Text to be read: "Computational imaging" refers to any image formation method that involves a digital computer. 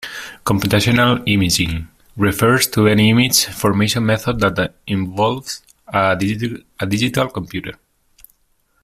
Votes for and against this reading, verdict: 0, 2, rejected